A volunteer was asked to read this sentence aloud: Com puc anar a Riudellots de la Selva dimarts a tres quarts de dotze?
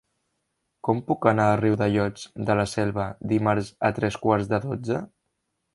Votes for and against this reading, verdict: 3, 0, accepted